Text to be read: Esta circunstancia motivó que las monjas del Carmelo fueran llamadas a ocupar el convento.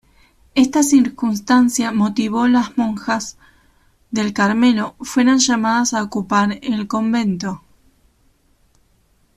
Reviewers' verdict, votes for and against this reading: rejected, 1, 2